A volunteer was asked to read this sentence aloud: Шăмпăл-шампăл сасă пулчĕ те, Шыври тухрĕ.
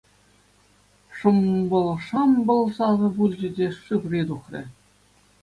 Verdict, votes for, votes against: accepted, 2, 0